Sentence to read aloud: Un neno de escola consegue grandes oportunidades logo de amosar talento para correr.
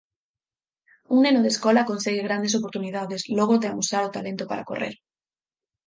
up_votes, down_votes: 0, 4